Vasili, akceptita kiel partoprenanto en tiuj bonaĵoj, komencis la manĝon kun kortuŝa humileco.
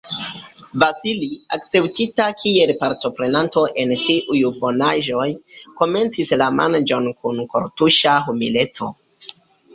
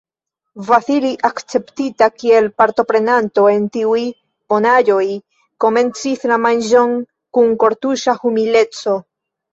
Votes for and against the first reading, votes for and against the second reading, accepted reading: 2, 0, 1, 2, first